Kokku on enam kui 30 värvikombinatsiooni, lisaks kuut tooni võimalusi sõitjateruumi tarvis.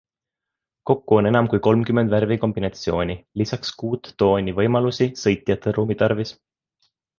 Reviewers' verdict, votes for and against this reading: rejected, 0, 2